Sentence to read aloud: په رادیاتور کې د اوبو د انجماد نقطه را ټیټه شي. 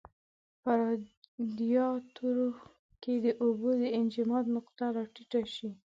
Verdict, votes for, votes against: rejected, 1, 2